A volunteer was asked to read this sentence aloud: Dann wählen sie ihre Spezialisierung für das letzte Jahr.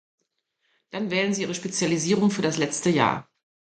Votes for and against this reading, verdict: 2, 0, accepted